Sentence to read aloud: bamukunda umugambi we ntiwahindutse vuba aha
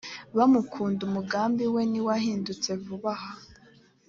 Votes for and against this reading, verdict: 2, 0, accepted